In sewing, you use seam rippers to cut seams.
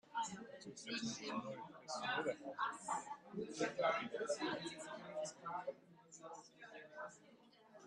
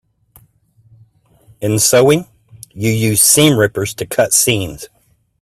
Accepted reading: second